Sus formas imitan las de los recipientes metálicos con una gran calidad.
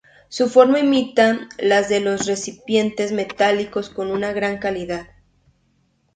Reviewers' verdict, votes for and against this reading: rejected, 0, 2